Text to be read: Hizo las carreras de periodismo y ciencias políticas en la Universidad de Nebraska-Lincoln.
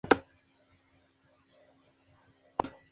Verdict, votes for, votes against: rejected, 0, 2